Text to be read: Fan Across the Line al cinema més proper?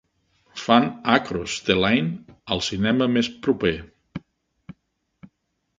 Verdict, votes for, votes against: rejected, 1, 2